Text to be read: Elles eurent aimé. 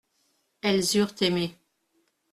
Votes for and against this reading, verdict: 2, 0, accepted